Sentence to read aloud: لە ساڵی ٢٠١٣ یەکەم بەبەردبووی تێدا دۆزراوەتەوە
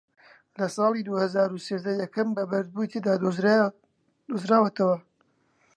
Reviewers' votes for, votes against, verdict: 0, 2, rejected